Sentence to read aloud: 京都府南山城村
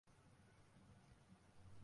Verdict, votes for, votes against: rejected, 1, 2